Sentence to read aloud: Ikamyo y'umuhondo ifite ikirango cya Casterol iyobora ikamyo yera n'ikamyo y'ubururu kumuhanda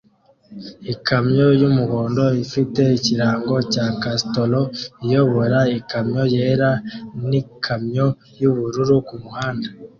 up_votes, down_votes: 2, 0